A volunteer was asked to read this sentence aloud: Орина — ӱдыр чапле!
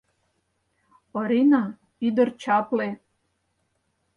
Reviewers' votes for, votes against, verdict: 4, 0, accepted